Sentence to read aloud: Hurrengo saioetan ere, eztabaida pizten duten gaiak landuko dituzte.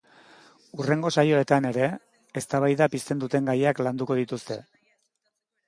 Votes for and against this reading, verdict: 2, 0, accepted